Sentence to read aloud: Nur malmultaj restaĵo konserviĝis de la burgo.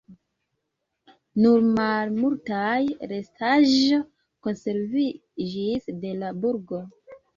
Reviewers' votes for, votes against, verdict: 2, 0, accepted